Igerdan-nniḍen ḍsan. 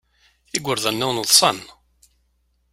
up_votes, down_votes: 2, 0